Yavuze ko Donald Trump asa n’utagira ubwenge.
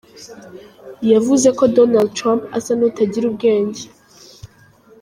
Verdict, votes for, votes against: accepted, 2, 0